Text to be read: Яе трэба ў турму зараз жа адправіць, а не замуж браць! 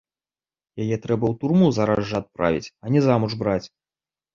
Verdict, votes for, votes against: accepted, 2, 0